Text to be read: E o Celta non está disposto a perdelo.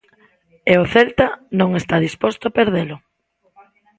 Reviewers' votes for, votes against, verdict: 1, 2, rejected